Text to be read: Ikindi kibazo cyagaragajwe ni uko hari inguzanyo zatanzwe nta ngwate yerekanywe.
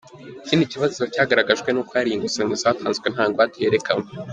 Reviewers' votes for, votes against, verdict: 2, 1, accepted